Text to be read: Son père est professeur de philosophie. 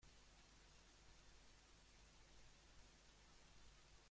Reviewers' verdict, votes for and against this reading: rejected, 0, 2